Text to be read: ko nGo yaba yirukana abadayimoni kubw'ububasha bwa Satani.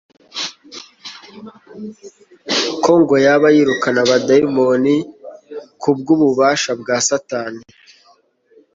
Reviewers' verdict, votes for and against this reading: accepted, 2, 0